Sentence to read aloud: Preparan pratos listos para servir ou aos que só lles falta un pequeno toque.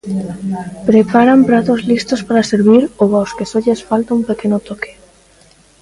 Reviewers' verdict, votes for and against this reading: rejected, 1, 2